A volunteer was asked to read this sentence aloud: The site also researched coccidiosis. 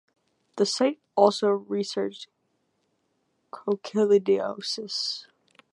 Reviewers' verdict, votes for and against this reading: rejected, 0, 2